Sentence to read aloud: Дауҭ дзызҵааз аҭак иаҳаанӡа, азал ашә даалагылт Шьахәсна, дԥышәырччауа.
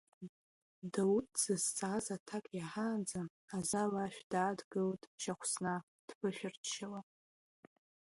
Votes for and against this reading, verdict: 0, 2, rejected